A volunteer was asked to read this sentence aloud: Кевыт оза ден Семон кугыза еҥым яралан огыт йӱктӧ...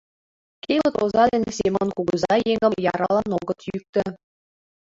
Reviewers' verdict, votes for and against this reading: rejected, 0, 5